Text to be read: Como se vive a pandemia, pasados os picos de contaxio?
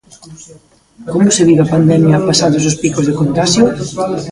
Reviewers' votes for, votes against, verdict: 0, 2, rejected